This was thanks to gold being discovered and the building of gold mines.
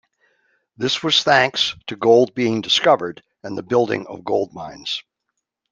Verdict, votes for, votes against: accepted, 2, 0